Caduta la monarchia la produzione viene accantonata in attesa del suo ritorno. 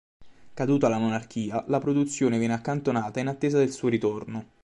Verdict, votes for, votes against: accepted, 2, 0